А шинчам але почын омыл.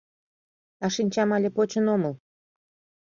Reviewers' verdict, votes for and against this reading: accepted, 2, 0